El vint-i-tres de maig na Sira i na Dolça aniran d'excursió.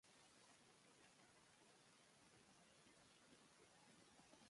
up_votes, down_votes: 0, 2